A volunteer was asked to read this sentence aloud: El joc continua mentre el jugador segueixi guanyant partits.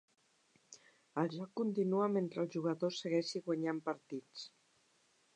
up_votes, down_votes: 0, 2